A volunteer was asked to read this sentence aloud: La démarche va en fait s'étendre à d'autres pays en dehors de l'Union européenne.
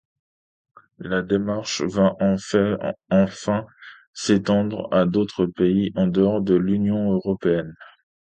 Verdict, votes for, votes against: rejected, 0, 2